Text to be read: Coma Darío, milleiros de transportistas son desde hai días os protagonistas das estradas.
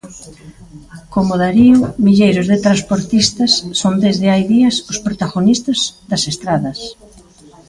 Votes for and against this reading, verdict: 1, 2, rejected